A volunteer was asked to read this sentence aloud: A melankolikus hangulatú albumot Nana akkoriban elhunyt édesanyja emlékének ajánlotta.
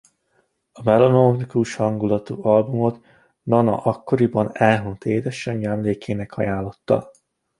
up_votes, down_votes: 0, 2